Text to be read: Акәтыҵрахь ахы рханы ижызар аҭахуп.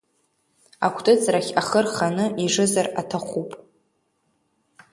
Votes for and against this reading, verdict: 3, 0, accepted